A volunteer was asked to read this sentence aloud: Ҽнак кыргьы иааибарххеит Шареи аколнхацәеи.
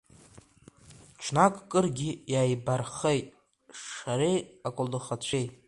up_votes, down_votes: 1, 2